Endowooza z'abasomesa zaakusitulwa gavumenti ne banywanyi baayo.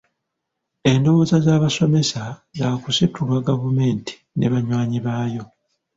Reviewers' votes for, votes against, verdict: 0, 2, rejected